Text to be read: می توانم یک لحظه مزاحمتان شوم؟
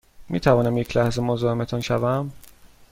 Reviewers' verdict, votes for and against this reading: accepted, 2, 0